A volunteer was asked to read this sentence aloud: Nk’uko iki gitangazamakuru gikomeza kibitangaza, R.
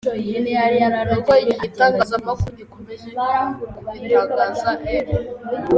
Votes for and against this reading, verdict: 1, 2, rejected